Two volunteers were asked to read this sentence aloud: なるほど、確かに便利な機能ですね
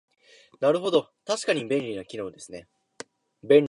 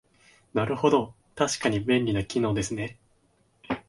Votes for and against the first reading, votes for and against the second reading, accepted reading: 0, 2, 2, 0, second